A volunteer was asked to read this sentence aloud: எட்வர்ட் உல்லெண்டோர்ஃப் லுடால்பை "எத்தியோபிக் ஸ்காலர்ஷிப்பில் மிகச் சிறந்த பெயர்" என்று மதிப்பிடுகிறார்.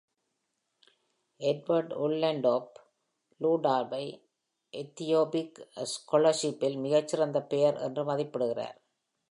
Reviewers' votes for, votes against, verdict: 2, 0, accepted